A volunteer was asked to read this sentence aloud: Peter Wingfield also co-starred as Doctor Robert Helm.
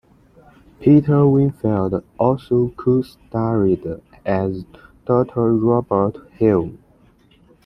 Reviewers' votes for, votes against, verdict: 0, 2, rejected